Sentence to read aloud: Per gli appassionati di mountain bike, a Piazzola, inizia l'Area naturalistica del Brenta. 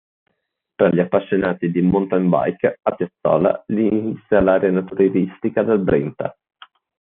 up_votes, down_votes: 0, 2